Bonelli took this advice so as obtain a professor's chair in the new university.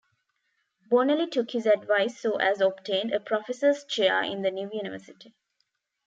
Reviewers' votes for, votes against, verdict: 0, 2, rejected